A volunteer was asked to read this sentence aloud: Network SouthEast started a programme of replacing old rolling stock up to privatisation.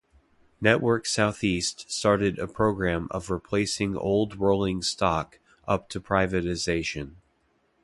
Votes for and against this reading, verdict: 2, 0, accepted